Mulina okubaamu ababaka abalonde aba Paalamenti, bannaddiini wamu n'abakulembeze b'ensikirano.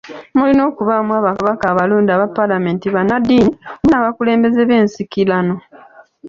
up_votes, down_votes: 2, 0